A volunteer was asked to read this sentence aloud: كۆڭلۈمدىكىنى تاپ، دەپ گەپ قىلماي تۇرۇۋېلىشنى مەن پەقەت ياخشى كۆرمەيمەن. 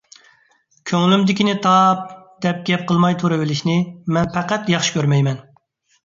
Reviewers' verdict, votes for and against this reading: accepted, 2, 0